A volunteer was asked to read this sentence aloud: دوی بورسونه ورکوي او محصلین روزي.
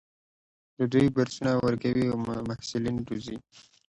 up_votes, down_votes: 2, 0